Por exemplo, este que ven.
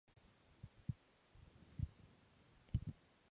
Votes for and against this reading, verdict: 0, 6, rejected